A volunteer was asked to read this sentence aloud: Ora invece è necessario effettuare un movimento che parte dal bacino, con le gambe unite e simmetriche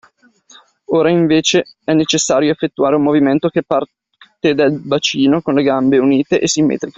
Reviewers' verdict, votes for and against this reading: rejected, 0, 2